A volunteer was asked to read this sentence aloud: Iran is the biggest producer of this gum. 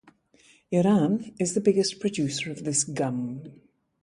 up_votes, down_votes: 2, 0